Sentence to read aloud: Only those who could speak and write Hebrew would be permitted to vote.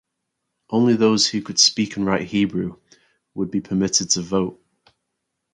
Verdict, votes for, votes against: rejected, 0, 2